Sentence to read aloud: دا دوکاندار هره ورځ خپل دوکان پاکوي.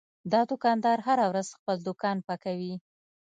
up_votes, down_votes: 2, 0